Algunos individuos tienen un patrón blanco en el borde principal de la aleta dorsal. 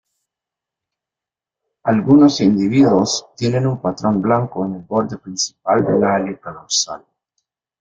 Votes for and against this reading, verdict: 0, 2, rejected